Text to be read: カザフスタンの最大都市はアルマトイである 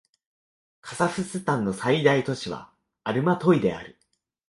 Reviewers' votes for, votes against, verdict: 9, 0, accepted